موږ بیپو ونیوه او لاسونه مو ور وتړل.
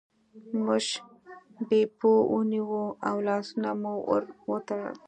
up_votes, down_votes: 2, 1